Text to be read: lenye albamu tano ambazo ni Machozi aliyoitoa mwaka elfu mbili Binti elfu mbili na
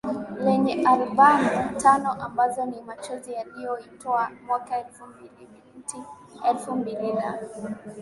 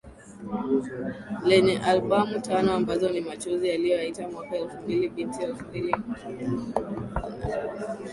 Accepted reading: first